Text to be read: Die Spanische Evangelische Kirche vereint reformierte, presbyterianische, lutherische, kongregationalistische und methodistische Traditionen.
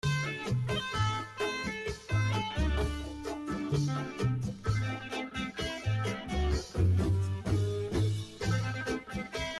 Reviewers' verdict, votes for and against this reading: rejected, 0, 2